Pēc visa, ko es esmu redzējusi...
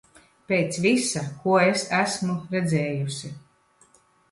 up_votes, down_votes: 0, 2